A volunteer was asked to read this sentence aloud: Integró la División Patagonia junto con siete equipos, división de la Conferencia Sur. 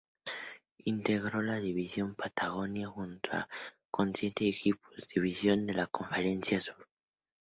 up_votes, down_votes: 0, 2